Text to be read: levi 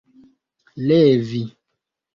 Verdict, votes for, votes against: accepted, 2, 0